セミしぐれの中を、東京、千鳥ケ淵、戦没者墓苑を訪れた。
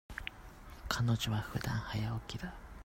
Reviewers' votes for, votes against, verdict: 0, 2, rejected